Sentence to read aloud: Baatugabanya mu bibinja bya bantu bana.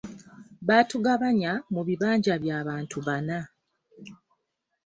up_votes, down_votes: 0, 2